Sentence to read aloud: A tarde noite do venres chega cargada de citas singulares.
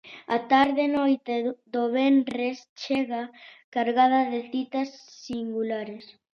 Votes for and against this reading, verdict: 0, 2, rejected